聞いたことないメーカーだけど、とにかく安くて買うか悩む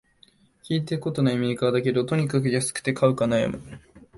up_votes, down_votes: 3, 0